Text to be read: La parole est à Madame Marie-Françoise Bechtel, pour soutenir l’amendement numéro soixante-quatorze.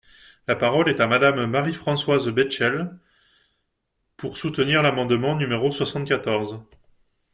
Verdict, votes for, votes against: rejected, 0, 2